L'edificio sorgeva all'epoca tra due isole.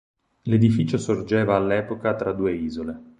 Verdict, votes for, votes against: accepted, 6, 0